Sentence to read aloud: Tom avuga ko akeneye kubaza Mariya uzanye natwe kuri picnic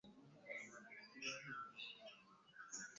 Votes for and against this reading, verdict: 0, 2, rejected